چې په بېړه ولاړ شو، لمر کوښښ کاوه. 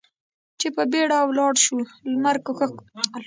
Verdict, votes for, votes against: rejected, 0, 2